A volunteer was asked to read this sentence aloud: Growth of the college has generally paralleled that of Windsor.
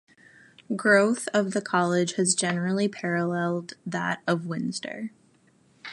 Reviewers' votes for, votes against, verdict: 2, 1, accepted